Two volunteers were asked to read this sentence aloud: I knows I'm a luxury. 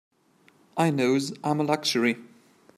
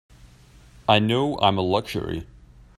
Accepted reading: first